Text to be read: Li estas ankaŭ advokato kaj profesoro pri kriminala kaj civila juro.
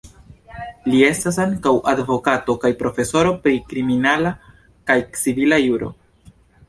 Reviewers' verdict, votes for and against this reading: rejected, 1, 2